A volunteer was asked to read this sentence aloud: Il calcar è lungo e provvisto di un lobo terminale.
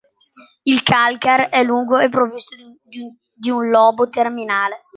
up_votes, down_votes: 0, 2